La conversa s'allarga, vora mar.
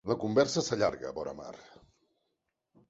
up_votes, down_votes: 3, 0